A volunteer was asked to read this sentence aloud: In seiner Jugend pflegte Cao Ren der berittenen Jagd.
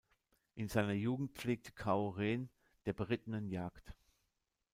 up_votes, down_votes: 1, 2